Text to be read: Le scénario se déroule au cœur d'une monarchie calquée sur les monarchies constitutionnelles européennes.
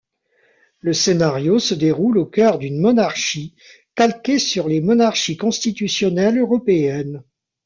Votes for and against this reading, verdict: 0, 2, rejected